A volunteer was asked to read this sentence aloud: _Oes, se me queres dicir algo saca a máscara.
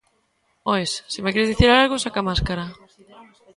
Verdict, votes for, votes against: rejected, 1, 2